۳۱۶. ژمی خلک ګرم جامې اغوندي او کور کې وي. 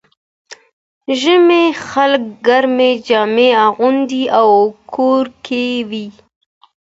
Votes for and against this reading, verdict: 0, 2, rejected